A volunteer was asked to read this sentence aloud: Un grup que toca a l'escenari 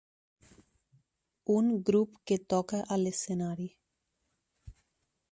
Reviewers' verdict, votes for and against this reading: accepted, 4, 0